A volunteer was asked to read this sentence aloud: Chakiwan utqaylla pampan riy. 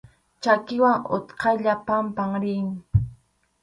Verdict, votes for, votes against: accepted, 4, 0